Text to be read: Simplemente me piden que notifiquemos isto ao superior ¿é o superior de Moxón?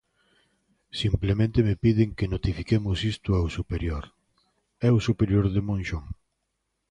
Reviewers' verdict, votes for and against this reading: rejected, 0, 2